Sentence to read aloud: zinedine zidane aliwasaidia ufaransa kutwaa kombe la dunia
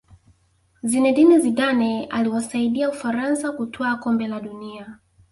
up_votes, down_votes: 0, 2